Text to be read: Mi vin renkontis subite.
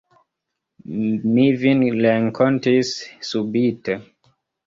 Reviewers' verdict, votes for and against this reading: rejected, 0, 2